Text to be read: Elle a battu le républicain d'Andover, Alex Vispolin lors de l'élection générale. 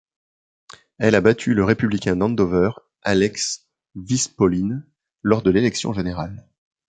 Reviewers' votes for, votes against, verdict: 2, 0, accepted